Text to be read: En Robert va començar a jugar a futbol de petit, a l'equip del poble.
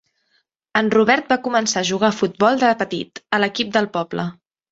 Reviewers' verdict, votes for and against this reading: accepted, 4, 0